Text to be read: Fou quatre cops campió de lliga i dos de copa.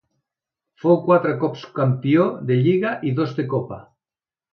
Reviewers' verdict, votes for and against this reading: accepted, 2, 0